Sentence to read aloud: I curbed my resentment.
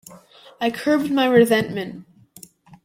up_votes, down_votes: 2, 0